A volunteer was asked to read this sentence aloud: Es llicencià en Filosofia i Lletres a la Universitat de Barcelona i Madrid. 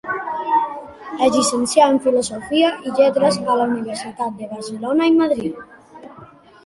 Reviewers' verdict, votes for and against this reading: accepted, 2, 1